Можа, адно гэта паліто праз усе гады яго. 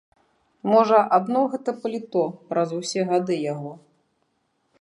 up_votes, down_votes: 2, 0